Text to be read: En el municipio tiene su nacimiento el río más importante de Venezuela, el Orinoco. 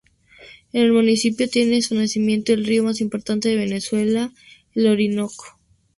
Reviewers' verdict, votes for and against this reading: rejected, 0, 2